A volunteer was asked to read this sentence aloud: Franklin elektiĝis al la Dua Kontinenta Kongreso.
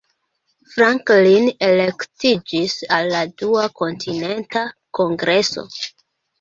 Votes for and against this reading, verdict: 2, 0, accepted